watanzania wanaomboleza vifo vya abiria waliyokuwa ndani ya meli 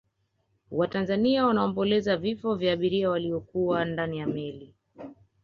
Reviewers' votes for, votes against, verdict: 2, 1, accepted